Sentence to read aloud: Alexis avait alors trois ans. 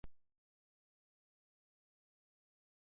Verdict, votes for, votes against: rejected, 0, 2